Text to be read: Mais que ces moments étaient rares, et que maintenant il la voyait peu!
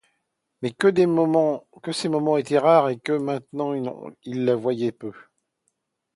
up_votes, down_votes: 0, 2